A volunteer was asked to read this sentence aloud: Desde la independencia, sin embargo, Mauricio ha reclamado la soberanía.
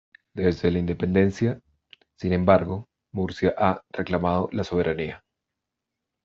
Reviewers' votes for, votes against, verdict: 1, 2, rejected